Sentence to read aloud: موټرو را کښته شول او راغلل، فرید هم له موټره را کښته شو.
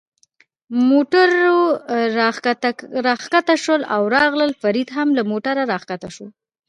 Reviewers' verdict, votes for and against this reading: accepted, 2, 1